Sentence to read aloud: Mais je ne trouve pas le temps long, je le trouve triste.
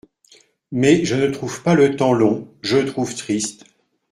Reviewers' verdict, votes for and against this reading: accepted, 2, 1